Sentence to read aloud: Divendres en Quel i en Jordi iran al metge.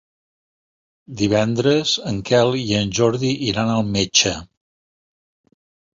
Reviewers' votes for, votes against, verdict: 3, 0, accepted